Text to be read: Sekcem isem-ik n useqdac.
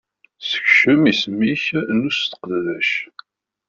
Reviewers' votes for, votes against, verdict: 2, 0, accepted